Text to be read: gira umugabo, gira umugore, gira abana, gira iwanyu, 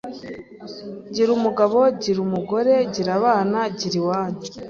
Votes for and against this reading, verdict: 2, 0, accepted